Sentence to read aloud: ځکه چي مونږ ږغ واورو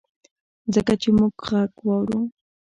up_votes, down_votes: 1, 2